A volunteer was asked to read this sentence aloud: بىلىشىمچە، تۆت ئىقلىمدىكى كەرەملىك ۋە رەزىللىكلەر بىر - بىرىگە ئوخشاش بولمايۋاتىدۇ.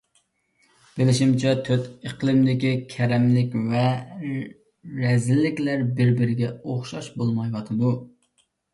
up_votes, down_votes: 2, 0